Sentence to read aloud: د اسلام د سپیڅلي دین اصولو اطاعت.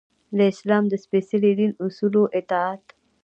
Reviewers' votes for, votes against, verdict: 0, 2, rejected